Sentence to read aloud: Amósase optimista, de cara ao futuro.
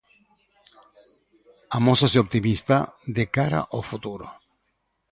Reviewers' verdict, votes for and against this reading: accepted, 2, 0